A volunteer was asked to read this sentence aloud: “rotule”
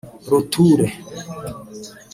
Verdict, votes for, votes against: rejected, 0, 2